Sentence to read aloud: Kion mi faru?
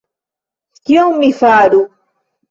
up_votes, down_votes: 2, 0